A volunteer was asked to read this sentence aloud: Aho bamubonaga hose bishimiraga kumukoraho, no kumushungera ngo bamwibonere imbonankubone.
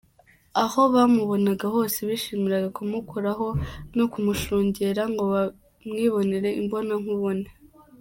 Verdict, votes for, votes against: accepted, 2, 0